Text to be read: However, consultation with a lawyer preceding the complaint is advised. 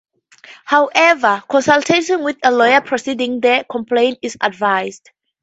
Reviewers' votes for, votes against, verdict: 4, 0, accepted